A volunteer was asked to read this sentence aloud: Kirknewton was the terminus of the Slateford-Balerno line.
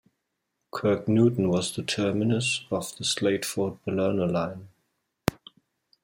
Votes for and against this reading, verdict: 2, 0, accepted